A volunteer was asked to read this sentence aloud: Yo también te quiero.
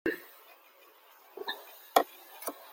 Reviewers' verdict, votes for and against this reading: rejected, 0, 2